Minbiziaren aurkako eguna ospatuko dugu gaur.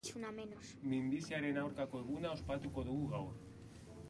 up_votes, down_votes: 1, 3